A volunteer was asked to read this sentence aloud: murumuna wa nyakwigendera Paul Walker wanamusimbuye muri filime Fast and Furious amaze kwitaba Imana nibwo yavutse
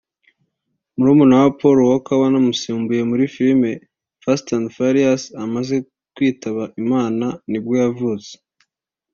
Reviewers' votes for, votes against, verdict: 1, 2, rejected